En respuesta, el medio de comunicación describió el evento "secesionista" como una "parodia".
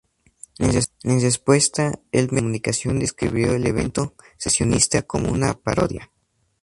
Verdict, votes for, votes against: rejected, 0, 2